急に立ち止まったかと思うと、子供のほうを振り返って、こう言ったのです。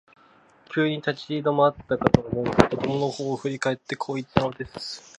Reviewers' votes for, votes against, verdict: 2, 0, accepted